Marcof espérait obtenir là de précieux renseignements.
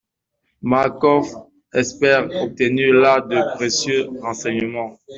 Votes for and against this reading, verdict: 1, 2, rejected